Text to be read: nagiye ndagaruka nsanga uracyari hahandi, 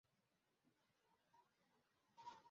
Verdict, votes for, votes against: rejected, 0, 2